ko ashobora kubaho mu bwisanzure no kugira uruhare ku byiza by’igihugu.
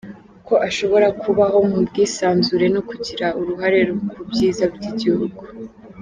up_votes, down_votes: 2, 0